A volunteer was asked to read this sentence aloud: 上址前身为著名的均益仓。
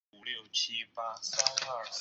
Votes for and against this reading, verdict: 2, 3, rejected